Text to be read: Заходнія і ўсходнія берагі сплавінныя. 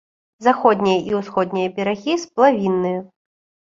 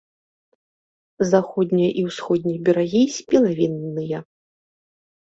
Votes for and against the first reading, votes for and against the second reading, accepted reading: 2, 0, 0, 2, first